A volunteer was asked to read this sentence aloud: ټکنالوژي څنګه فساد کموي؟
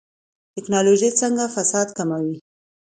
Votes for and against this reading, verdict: 2, 0, accepted